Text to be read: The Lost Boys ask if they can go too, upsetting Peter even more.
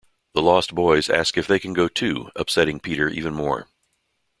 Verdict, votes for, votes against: accepted, 2, 0